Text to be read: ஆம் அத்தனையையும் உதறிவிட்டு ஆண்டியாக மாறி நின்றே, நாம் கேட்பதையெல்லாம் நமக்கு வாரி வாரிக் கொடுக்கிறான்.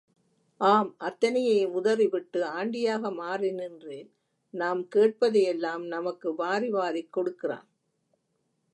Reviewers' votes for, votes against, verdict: 2, 0, accepted